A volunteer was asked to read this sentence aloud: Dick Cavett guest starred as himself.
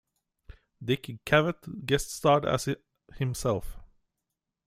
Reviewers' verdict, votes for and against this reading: rejected, 0, 2